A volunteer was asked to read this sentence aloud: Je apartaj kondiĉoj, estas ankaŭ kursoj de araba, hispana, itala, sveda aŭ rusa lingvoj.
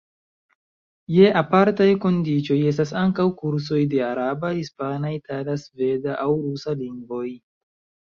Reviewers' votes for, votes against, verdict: 0, 2, rejected